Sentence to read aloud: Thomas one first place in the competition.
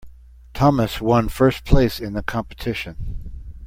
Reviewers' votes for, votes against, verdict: 2, 0, accepted